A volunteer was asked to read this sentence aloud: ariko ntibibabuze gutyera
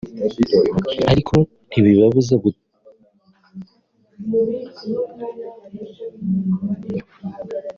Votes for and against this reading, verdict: 0, 3, rejected